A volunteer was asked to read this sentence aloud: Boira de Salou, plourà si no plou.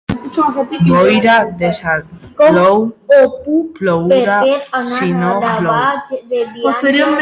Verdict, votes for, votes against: rejected, 0, 2